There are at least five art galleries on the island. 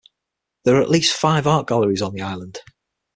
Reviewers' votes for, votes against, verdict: 6, 0, accepted